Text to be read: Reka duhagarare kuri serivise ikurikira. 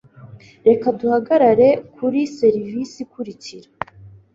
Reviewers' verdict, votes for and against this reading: accepted, 3, 0